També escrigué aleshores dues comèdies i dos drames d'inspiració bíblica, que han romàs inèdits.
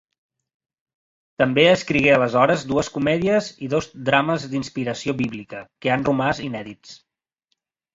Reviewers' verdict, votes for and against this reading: rejected, 1, 2